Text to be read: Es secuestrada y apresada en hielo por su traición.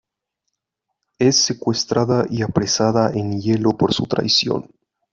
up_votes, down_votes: 2, 0